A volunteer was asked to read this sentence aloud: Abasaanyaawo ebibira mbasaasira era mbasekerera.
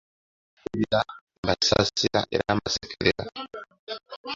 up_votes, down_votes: 0, 2